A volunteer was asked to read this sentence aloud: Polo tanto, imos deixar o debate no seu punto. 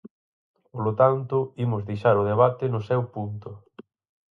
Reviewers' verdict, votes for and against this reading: accepted, 4, 0